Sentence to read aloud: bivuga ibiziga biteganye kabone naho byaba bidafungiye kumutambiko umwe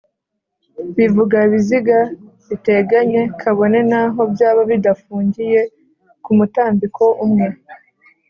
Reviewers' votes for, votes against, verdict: 2, 0, accepted